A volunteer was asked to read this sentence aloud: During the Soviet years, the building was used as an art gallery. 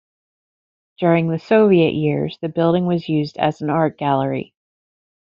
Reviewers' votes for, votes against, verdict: 2, 0, accepted